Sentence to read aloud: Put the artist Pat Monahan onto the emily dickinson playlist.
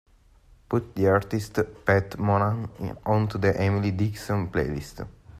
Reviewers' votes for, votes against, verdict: 2, 0, accepted